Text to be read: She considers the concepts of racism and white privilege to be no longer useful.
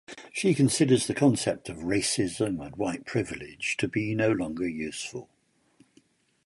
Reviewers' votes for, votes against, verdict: 2, 2, rejected